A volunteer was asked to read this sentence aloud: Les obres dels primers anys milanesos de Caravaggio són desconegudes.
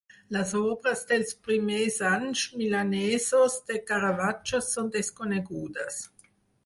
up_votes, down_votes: 4, 2